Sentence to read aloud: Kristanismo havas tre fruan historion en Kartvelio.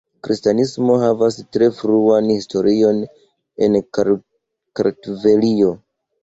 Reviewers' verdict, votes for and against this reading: rejected, 0, 2